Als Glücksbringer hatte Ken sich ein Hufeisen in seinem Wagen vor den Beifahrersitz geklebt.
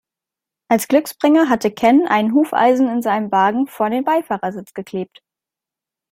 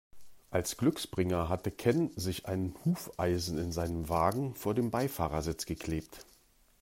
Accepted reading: second